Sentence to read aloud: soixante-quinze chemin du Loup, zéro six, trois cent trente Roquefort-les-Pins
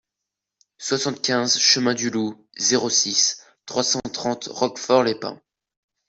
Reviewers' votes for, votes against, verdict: 2, 0, accepted